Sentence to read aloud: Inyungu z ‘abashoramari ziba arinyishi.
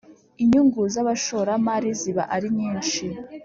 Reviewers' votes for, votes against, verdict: 2, 0, accepted